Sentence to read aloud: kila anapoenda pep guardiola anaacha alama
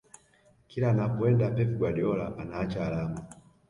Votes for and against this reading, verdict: 2, 0, accepted